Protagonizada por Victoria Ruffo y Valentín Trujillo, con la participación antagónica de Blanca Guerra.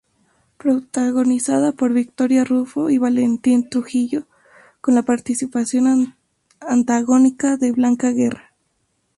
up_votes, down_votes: 0, 4